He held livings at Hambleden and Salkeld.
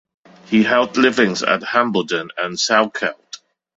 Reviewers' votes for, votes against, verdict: 2, 0, accepted